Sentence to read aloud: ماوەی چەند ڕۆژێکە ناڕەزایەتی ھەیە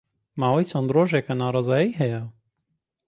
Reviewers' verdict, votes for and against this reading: rejected, 0, 2